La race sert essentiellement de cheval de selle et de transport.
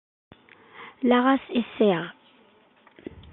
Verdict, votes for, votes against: rejected, 0, 2